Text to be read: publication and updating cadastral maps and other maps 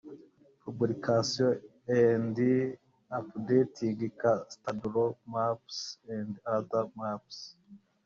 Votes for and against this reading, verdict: 0, 2, rejected